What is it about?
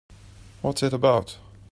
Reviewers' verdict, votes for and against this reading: rejected, 1, 2